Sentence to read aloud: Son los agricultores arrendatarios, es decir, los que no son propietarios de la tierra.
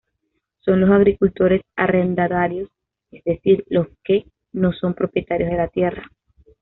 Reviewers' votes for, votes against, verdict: 2, 0, accepted